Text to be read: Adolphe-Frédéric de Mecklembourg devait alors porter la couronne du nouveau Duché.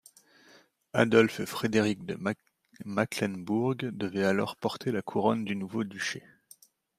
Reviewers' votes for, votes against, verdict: 0, 2, rejected